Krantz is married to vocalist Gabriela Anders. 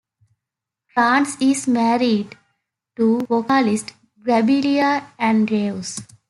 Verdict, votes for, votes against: rejected, 0, 2